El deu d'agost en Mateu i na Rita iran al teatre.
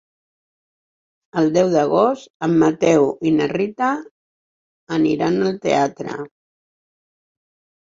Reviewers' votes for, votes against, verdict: 2, 4, rejected